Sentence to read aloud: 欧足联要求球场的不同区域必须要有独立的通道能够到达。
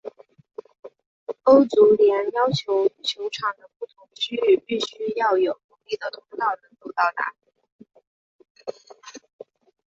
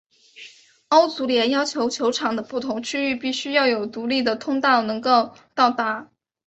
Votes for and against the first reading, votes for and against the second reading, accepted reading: 0, 3, 2, 0, second